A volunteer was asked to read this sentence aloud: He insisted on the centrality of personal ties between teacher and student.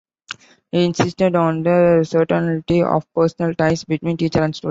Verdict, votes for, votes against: rejected, 1, 2